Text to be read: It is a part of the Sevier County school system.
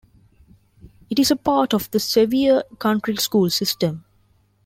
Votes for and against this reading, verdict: 0, 2, rejected